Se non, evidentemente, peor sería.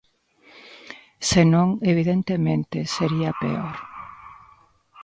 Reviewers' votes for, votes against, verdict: 0, 2, rejected